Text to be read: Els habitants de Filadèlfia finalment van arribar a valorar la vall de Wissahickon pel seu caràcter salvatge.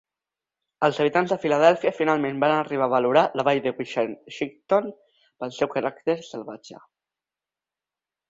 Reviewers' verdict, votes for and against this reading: rejected, 0, 2